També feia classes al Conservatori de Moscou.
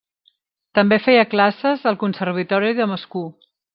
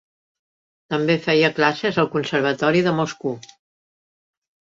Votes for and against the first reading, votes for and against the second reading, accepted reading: 0, 2, 3, 1, second